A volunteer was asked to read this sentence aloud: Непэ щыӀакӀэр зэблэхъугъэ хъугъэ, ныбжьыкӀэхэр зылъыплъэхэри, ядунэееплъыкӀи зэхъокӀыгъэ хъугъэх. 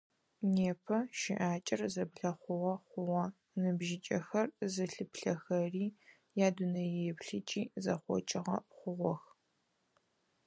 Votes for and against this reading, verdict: 4, 0, accepted